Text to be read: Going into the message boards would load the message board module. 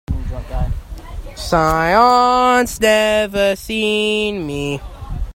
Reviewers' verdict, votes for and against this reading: rejected, 0, 2